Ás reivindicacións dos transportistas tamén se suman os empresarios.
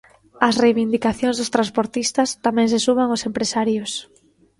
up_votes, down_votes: 2, 1